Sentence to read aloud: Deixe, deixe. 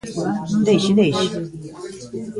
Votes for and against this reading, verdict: 1, 2, rejected